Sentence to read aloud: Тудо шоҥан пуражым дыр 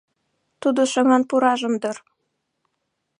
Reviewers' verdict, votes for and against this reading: accepted, 2, 0